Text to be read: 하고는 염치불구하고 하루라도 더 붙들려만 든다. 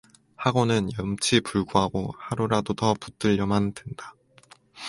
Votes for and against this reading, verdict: 4, 2, accepted